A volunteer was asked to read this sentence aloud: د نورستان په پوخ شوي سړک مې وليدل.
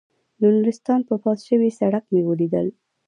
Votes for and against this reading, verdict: 0, 2, rejected